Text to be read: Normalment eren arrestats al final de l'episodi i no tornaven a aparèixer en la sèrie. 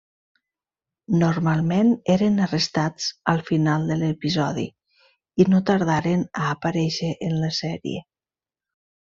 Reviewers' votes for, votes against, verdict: 1, 2, rejected